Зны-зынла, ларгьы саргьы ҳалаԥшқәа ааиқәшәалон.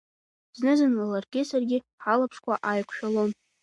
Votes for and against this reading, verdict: 2, 0, accepted